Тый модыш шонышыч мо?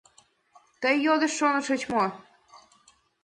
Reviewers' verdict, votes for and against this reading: rejected, 1, 2